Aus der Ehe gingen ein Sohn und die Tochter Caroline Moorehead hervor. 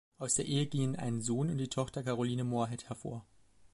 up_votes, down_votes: 0, 2